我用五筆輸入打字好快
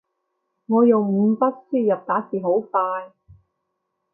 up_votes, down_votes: 2, 0